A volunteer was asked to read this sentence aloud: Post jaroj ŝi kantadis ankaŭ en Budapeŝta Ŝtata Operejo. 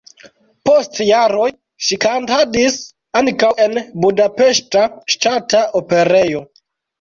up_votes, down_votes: 2, 1